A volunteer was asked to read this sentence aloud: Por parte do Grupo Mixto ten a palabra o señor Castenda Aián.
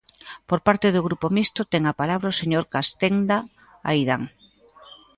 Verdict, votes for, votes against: rejected, 0, 2